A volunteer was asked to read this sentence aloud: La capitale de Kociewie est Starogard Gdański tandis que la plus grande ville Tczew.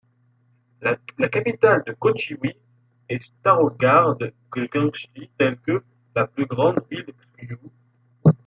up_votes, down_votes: 0, 2